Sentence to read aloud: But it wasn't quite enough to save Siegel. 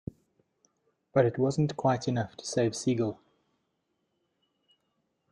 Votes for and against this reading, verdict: 2, 0, accepted